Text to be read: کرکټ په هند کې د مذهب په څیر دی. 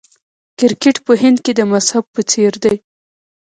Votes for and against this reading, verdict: 0, 2, rejected